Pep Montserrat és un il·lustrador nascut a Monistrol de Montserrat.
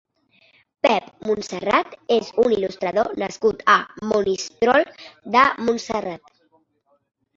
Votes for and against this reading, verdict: 2, 0, accepted